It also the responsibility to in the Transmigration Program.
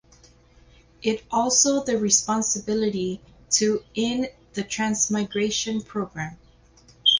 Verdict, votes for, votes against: accepted, 2, 0